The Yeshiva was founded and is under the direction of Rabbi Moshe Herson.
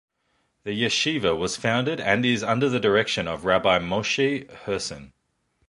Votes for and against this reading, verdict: 2, 0, accepted